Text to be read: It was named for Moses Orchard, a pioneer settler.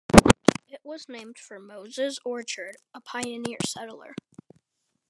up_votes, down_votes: 2, 1